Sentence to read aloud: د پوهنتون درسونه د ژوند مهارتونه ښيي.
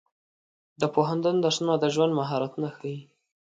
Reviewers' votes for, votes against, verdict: 2, 0, accepted